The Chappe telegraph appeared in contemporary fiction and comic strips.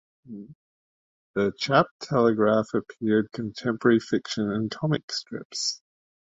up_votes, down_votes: 0, 2